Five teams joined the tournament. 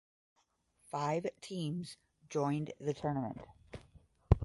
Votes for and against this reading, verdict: 10, 0, accepted